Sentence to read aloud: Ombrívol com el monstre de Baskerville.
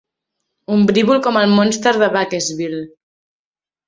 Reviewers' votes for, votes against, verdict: 1, 2, rejected